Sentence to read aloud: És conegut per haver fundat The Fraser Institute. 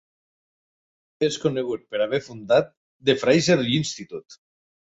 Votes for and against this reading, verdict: 1, 2, rejected